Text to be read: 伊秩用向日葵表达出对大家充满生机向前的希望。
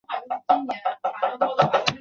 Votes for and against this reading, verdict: 0, 2, rejected